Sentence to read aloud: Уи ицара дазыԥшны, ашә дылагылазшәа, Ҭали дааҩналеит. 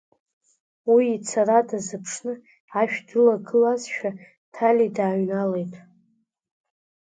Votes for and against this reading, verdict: 0, 2, rejected